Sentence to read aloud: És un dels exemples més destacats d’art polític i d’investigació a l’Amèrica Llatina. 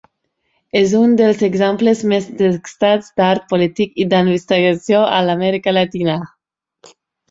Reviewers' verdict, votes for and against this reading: rejected, 0, 2